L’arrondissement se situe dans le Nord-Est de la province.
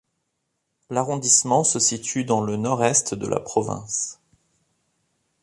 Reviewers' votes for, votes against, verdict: 2, 0, accepted